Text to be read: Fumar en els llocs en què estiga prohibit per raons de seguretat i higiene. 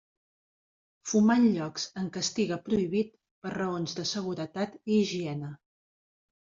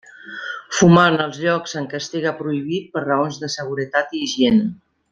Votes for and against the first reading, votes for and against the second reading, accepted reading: 0, 2, 2, 0, second